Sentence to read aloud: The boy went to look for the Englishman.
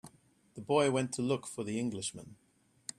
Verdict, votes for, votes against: accepted, 2, 0